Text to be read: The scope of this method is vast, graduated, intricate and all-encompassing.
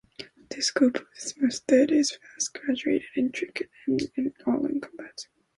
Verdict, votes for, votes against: rejected, 0, 2